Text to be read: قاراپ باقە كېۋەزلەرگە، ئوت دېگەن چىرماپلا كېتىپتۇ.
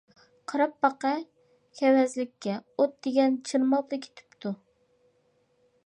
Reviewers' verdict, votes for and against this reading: rejected, 1, 2